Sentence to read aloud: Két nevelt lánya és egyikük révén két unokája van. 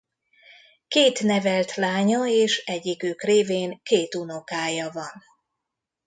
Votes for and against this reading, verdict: 2, 0, accepted